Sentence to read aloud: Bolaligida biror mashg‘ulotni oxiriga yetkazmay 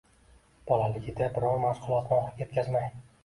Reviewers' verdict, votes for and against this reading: accepted, 2, 0